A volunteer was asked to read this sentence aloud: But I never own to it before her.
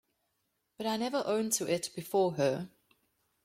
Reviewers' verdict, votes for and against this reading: accepted, 2, 0